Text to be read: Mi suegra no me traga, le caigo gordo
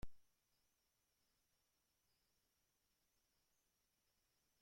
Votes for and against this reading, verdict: 0, 2, rejected